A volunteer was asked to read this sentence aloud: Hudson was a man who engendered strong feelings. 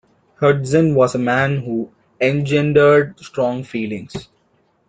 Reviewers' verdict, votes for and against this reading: rejected, 0, 2